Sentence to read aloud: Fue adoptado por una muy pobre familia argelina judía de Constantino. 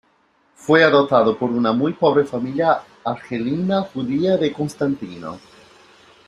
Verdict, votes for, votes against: accepted, 2, 0